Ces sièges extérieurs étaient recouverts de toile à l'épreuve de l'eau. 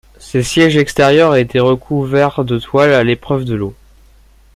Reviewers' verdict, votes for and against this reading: accepted, 2, 0